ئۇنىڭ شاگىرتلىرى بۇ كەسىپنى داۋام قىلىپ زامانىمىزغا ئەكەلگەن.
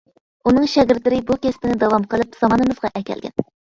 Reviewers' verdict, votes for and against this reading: rejected, 0, 2